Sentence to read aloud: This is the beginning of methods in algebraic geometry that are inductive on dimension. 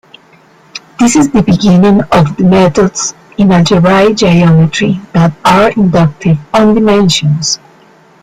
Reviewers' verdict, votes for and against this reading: rejected, 0, 2